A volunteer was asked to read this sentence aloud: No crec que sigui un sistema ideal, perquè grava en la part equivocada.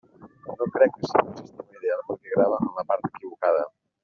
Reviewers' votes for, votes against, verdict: 0, 2, rejected